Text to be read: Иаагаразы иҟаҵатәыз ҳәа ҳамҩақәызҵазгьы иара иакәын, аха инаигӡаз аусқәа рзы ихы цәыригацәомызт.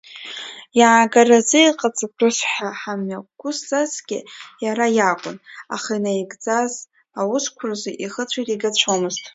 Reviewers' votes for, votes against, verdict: 0, 2, rejected